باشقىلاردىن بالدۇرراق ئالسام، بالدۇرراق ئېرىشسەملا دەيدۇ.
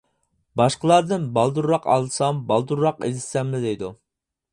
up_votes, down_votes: 0, 4